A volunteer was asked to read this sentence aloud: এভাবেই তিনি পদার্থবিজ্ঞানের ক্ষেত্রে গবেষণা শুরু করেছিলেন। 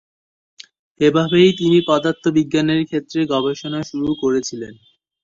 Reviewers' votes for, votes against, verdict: 2, 1, accepted